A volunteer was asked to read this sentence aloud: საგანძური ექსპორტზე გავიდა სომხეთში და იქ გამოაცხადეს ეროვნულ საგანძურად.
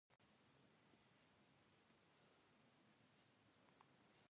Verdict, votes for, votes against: rejected, 1, 2